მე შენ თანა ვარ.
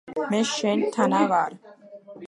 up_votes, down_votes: 2, 0